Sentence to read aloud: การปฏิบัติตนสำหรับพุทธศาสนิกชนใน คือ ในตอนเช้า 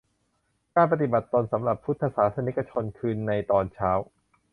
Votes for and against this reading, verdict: 1, 2, rejected